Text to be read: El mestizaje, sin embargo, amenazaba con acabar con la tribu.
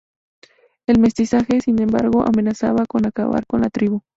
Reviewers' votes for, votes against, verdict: 2, 0, accepted